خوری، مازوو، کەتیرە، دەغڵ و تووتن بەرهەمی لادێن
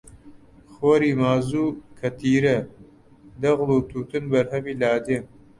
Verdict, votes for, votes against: rejected, 0, 2